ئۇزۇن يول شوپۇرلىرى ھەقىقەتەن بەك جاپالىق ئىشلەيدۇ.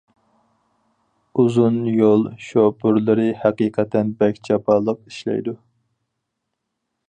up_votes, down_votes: 4, 0